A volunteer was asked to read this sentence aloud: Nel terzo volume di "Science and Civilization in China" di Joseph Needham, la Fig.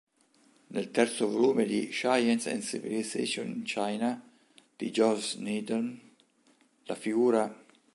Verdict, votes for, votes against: rejected, 0, 2